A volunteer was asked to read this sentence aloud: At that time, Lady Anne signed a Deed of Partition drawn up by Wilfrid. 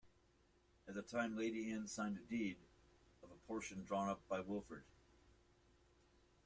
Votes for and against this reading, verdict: 1, 2, rejected